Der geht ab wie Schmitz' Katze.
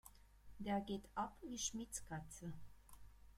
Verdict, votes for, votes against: rejected, 0, 2